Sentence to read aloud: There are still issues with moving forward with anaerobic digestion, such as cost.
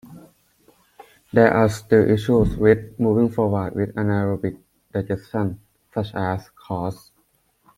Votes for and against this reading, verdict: 2, 0, accepted